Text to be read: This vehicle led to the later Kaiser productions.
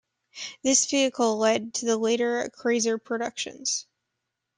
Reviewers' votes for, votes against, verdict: 1, 2, rejected